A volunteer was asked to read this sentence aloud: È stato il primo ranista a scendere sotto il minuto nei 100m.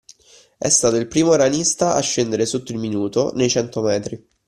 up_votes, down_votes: 0, 2